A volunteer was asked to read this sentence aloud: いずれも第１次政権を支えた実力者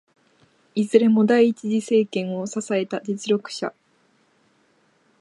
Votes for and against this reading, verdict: 0, 2, rejected